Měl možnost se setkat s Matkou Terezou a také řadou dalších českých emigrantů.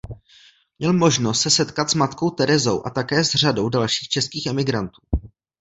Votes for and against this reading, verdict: 1, 2, rejected